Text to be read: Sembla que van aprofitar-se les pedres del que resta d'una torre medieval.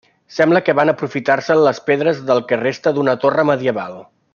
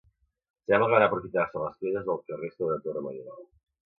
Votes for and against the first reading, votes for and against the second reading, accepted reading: 2, 0, 1, 2, first